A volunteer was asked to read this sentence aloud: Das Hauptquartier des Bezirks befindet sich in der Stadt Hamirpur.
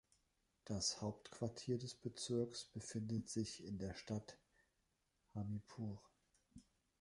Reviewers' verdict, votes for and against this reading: rejected, 1, 2